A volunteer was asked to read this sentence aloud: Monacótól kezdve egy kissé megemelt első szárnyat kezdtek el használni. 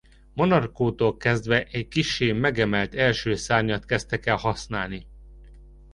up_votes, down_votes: 1, 2